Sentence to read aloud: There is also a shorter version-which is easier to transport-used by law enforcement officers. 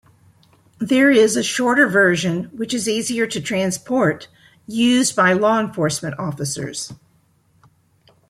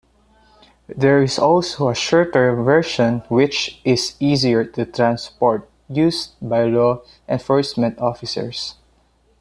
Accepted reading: second